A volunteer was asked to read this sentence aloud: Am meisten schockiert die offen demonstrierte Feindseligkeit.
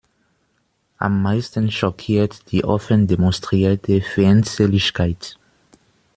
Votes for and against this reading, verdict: 0, 2, rejected